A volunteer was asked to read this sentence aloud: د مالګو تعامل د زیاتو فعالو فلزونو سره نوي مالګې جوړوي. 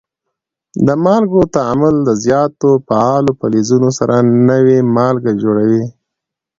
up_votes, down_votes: 2, 1